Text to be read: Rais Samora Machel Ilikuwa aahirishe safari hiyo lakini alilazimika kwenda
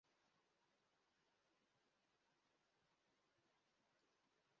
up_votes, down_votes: 0, 2